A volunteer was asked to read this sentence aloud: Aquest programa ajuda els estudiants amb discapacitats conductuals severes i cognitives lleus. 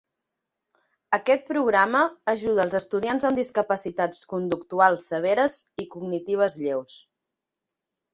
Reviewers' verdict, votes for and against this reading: accepted, 3, 1